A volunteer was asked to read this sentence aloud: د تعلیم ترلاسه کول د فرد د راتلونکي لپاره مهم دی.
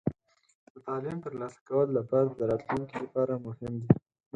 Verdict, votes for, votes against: rejected, 0, 4